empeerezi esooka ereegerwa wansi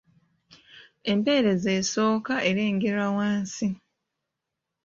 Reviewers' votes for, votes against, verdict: 1, 2, rejected